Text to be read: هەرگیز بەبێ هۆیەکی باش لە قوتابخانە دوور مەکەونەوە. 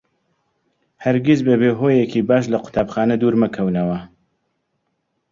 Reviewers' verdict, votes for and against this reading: accepted, 2, 0